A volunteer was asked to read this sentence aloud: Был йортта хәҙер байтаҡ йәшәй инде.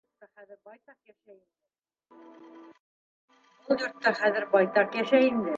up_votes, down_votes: 1, 2